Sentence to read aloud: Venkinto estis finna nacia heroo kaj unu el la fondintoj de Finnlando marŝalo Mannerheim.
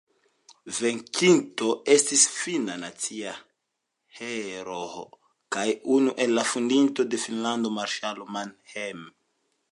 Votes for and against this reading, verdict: 2, 1, accepted